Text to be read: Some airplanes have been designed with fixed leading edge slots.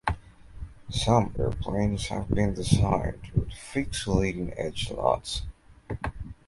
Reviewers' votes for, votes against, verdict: 2, 0, accepted